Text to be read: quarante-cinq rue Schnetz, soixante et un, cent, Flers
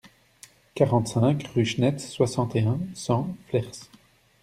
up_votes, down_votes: 2, 0